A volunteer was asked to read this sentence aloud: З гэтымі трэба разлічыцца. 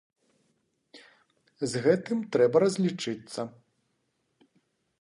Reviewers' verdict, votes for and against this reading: rejected, 0, 2